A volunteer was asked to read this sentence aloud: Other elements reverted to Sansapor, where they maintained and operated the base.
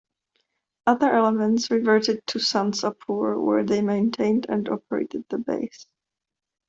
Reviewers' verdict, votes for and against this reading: accepted, 2, 1